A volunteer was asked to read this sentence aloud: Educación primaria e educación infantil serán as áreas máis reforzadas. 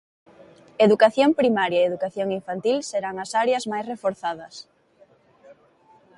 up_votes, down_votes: 2, 0